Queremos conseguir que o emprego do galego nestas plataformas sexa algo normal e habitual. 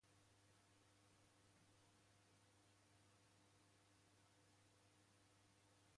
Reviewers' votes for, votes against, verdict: 0, 2, rejected